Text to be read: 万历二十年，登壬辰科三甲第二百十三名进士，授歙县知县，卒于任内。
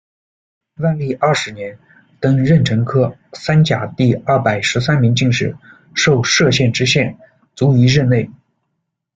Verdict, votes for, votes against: accepted, 2, 1